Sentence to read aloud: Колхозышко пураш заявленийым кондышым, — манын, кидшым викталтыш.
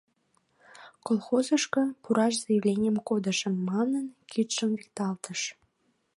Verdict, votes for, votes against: accepted, 2, 1